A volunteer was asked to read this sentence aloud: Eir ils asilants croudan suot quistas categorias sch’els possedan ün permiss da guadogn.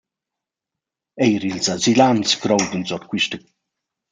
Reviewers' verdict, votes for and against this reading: rejected, 0, 2